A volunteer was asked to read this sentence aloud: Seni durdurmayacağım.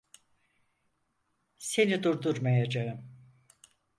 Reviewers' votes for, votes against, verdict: 4, 0, accepted